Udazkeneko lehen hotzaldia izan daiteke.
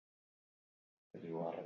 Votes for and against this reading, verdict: 0, 2, rejected